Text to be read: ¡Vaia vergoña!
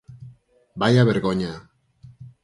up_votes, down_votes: 4, 0